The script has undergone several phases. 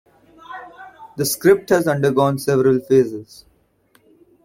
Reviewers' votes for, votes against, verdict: 1, 2, rejected